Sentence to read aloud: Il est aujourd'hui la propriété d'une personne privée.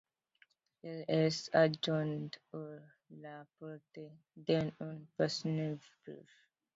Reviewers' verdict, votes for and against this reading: rejected, 0, 2